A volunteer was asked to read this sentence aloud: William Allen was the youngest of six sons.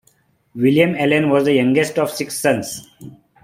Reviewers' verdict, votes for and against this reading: accepted, 2, 0